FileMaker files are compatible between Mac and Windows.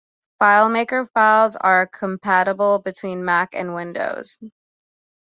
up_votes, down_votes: 2, 0